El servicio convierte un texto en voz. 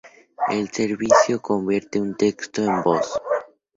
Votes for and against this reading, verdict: 2, 0, accepted